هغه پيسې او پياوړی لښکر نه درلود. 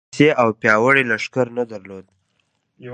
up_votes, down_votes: 0, 2